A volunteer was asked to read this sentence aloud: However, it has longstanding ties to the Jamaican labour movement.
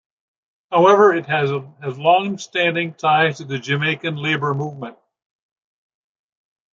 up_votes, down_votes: 0, 2